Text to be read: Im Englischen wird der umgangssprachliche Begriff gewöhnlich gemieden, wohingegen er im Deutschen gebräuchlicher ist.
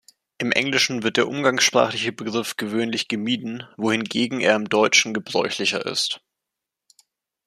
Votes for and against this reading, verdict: 2, 0, accepted